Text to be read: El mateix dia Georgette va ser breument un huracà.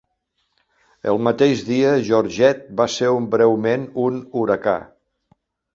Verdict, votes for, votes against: rejected, 1, 2